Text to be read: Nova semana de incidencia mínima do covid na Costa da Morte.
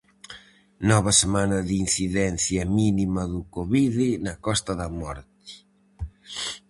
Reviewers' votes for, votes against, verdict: 0, 4, rejected